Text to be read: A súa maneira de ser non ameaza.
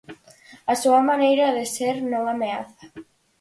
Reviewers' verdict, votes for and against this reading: accepted, 4, 0